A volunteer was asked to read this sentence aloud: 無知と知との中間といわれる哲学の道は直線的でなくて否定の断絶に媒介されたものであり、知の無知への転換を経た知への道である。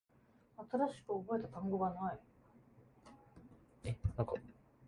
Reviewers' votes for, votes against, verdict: 0, 2, rejected